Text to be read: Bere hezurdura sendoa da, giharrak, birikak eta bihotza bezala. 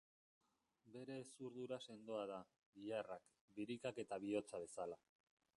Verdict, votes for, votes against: rejected, 1, 2